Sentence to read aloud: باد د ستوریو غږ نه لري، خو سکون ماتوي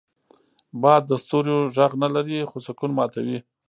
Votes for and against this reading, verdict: 1, 2, rejected